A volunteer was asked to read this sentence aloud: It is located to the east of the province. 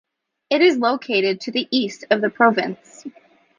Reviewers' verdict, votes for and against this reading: accepted, 2, 0